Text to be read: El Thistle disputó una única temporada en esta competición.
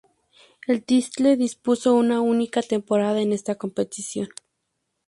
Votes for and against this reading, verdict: 0, 2, rejected